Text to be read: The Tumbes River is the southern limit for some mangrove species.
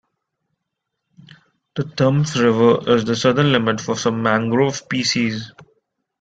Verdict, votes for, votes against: accepted, 2, 0